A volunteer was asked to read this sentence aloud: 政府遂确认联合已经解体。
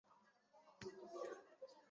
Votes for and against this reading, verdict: 1, 3, rejected